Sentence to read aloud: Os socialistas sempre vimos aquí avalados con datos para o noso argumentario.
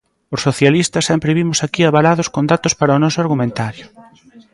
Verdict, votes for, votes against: rejected, 1, 2